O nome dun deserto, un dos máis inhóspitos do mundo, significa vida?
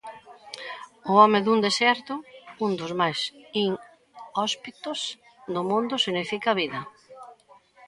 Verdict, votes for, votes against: rejected, 0, 2